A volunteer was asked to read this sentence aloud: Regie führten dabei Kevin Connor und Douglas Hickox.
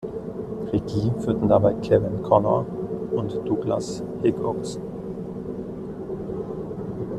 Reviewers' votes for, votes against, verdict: 0, 2, rejected